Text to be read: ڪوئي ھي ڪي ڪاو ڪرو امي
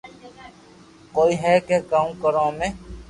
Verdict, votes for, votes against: accepted, 2, 0